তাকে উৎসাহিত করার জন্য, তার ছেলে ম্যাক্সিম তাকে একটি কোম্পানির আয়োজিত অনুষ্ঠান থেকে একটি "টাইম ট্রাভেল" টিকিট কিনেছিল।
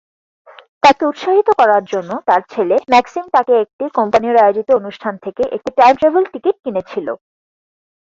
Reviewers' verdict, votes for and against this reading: accepted, 4, 0